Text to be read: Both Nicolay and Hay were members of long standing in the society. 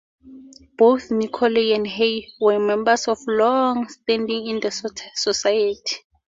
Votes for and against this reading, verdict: 2, 0, accepted